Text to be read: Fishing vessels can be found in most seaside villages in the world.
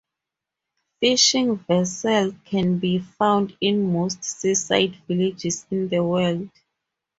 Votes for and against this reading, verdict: 0, 2, rejected